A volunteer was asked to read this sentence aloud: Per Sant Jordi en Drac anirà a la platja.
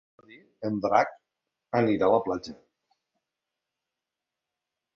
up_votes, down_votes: 1, 2